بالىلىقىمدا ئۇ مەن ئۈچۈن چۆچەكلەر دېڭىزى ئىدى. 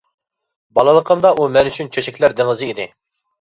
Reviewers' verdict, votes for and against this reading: accepted, 2, 1